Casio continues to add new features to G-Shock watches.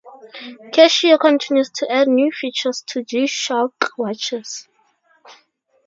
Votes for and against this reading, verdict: 2, 0, accepted